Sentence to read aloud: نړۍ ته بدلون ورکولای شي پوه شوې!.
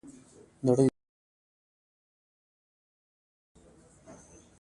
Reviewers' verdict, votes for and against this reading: rejected, 0, 2